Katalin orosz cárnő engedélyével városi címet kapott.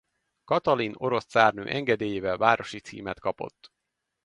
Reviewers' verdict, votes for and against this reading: accepted, 2, 0